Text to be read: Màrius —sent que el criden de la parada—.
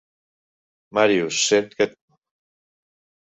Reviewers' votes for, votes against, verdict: 0, 2, rejected